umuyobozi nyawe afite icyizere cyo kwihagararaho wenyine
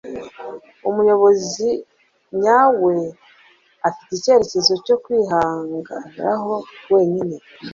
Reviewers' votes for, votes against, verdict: 1, 2, rejected